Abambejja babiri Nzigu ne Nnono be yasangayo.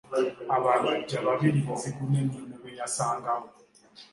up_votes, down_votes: 3, 4